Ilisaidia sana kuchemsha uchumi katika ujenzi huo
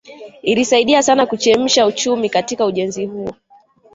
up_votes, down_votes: 2, 1